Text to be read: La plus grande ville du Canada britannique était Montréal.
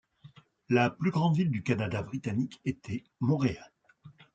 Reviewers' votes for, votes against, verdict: 2, 0, accepted